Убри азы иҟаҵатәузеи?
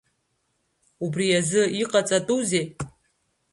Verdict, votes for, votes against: rejected, 1, 2